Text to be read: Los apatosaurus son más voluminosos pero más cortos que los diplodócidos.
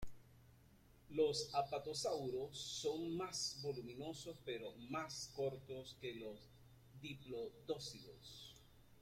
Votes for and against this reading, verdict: 2, 0, accepted